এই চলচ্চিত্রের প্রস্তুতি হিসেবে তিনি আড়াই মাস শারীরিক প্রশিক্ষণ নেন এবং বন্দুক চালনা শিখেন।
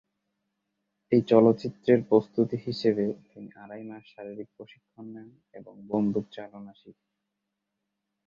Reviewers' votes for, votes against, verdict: 0, 2, rejected